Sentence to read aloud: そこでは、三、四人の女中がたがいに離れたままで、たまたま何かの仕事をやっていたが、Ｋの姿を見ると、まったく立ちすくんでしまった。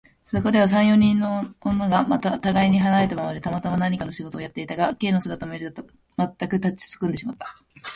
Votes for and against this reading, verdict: 0, 3, rejected